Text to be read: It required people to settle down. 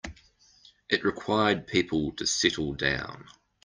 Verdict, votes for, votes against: accepted, 2, 0